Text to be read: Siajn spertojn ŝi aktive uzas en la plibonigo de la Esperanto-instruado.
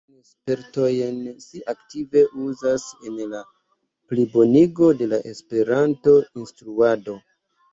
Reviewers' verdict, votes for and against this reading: rejected, 0, 2